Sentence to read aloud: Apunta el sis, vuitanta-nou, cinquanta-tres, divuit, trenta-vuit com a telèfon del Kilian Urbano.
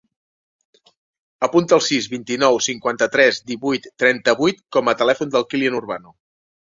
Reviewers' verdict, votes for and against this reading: rejected, 1, 2